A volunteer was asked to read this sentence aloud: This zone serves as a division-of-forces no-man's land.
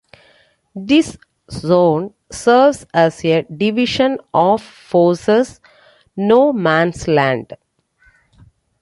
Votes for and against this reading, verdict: 2, 1, accepted